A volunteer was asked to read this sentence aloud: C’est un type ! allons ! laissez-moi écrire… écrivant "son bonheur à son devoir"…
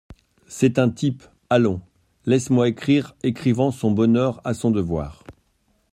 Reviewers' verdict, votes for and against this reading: rejected, 1, 2